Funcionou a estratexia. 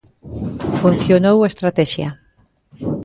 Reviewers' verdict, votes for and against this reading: accepted, 2, 0